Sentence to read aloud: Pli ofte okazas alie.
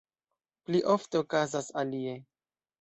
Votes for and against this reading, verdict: 2, 0, accepted